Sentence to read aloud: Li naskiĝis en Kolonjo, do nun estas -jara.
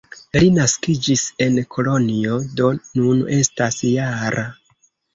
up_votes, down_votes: 2, 0